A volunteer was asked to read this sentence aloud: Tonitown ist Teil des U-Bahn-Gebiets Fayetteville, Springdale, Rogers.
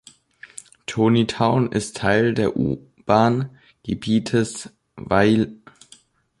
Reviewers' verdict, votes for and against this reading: rejected, 0, 3